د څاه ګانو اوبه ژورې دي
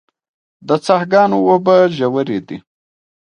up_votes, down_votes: 2, 0